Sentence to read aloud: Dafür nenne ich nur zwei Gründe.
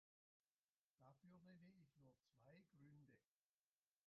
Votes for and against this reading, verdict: 0, 2, rejected